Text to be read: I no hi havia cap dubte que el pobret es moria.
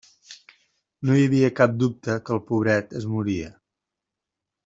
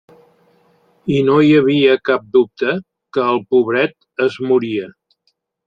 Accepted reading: second